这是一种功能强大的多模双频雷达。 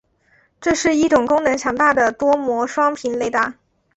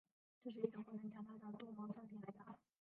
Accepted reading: first